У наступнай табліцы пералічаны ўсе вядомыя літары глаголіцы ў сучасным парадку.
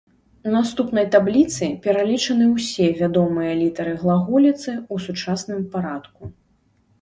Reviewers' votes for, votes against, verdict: 1, 2, rejected